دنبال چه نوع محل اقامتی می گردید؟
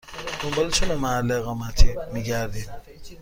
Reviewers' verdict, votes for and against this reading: accepted, 2, 0